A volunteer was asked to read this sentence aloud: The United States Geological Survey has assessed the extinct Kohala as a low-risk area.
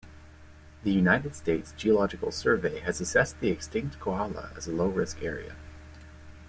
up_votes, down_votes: 2, 0